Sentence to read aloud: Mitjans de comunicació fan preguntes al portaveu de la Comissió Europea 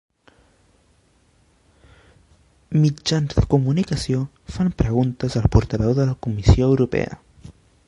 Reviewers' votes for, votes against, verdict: 1, 2, rejected